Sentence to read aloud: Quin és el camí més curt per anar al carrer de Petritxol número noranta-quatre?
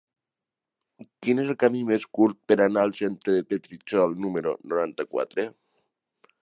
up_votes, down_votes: 0, 2